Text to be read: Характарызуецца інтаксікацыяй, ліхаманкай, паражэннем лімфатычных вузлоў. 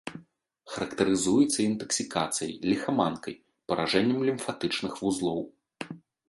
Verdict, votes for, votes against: accepted, 2, 0